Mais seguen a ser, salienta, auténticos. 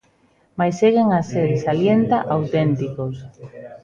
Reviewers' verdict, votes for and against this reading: rejected, 1, 2